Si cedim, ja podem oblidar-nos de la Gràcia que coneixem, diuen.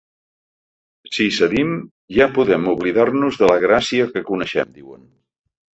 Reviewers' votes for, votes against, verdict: 0, 2, rejected